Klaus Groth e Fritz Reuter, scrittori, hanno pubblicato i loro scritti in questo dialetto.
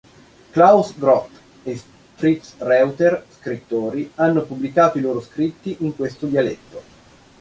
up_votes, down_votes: 0, 2